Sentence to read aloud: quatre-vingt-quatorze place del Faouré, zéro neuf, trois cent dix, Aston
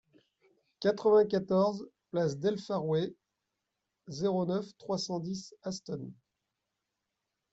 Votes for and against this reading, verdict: 2, 1, accepted